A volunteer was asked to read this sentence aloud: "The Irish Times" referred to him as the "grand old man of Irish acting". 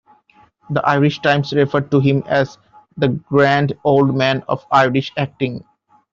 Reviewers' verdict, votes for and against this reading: accepted, 2, 0